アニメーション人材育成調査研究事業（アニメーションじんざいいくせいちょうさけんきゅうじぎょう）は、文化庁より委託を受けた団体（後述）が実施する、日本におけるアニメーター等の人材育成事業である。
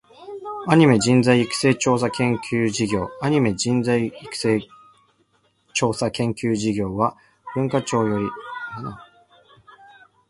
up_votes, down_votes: 1, 2